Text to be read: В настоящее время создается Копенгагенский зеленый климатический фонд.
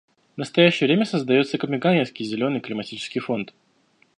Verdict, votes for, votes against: rejected, 1, 2